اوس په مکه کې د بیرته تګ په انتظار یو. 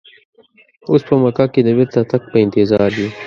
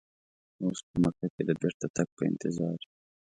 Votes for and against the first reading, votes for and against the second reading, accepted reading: 2, 0, 0, 2, first